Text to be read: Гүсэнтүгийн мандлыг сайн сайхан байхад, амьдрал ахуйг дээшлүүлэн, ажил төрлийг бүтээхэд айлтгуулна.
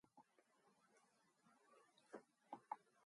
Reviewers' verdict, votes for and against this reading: rejected, 2, 4